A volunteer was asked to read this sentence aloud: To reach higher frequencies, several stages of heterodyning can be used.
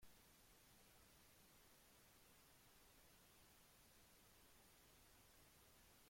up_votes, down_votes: 0, 2